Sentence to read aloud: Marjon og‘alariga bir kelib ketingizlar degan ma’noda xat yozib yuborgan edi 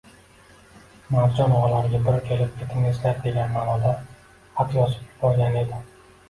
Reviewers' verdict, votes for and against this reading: accepted, 2, 1